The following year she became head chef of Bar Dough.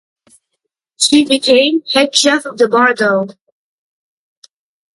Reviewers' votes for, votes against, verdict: 0, 2, rejected